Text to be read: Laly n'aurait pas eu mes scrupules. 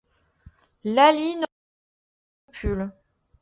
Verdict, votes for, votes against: rejected, 0, 2